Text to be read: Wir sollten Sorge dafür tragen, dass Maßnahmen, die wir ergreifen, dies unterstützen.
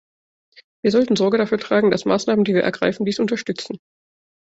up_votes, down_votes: 2, 0